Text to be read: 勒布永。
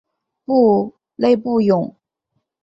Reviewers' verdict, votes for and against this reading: rejected, 0, 3